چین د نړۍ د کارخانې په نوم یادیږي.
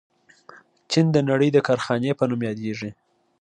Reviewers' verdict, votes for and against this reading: accepted, 2, 0